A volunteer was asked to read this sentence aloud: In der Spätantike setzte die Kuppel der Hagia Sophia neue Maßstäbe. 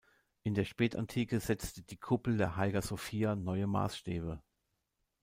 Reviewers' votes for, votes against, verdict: 1, 2, rejected